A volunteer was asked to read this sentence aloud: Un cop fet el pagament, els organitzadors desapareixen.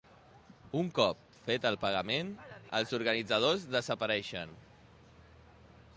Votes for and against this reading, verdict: 2, 0, accepted